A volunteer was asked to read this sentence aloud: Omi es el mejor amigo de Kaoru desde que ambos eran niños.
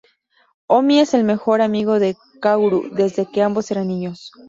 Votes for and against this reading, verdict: 2, 0, accepted